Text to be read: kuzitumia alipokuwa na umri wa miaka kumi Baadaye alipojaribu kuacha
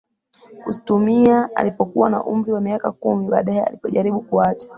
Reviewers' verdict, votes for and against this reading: accepted, 2, 0